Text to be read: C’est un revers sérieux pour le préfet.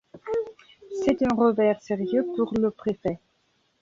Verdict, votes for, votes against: rejected, 0, 2